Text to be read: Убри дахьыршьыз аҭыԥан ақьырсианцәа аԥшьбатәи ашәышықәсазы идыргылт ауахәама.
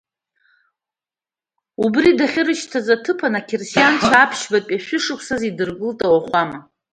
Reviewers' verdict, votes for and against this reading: rejected, 0, 2